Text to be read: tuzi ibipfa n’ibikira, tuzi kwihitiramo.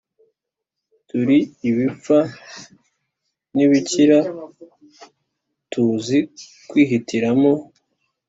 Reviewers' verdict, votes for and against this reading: rejected, 0, 2